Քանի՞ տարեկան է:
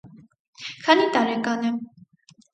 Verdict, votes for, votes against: accepted, 6, 0